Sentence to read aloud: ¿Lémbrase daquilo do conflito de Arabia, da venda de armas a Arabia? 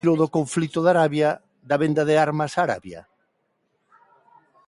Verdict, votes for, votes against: rejected, 0, 2